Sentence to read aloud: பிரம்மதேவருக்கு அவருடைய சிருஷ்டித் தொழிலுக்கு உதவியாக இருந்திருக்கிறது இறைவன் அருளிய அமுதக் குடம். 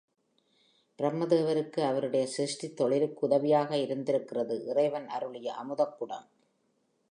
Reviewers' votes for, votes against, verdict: 3, 1, accepted